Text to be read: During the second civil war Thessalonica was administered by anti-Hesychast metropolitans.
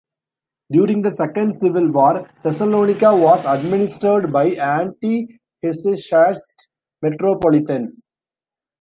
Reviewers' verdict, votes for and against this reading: accepted, 2, 0